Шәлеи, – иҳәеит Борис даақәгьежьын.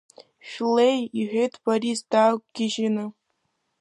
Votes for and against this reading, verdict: 1, 2, rejected